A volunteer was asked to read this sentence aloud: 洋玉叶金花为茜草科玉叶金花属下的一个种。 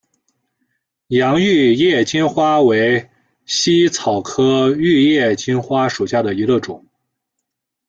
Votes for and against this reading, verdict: 1, 2, rejected